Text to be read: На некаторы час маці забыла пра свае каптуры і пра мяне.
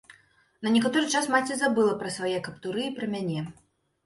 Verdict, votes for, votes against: accepted, 2, 0